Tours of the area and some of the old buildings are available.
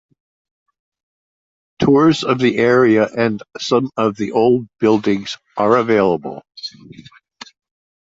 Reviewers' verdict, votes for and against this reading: accepted, 2, 0